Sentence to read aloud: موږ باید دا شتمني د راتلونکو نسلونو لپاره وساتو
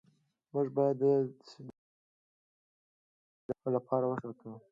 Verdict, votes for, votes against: rejected, 0, 2